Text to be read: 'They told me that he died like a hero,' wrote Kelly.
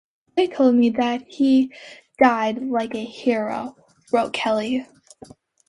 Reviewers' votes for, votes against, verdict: 2, 0, accepted